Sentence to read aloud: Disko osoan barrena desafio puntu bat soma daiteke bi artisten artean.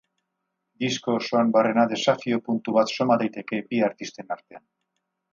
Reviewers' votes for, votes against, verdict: 2, 0, accepted